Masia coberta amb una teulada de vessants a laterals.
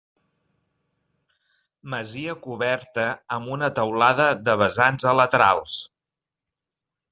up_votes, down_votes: 3, 0